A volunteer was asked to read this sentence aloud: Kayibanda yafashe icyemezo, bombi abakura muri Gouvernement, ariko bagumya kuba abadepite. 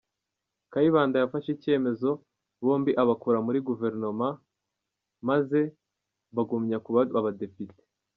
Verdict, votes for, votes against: rejected, 1, 2